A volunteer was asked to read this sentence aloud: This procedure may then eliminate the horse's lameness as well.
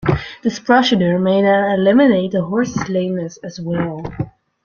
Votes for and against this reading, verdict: 1, 2, rejected